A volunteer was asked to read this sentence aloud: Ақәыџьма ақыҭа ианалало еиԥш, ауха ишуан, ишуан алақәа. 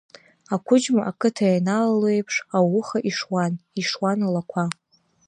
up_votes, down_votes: 1, 2